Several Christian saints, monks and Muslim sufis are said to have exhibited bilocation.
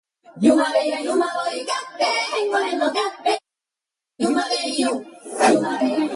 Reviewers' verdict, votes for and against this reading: rejected, 0, 2